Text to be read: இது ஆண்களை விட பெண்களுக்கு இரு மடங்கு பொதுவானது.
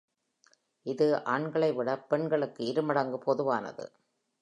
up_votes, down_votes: 2, 0